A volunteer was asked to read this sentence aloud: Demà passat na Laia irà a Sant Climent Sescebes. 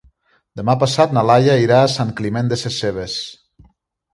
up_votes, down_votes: 0, 2